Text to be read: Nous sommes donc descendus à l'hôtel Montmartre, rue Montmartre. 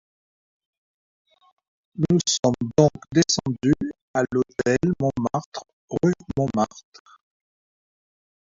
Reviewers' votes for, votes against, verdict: 0, 2, rejected